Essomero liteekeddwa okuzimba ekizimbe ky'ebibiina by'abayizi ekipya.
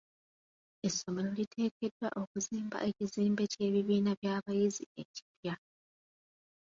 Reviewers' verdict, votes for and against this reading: accepted, 2, 0